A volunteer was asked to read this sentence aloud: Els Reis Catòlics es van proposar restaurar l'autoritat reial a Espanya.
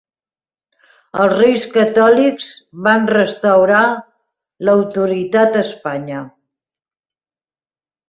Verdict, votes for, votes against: rejected, 0, 2